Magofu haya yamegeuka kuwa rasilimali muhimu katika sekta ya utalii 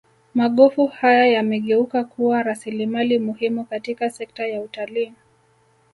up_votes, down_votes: 2, 0